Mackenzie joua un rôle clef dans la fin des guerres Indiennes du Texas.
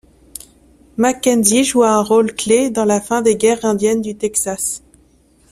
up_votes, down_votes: 2, 0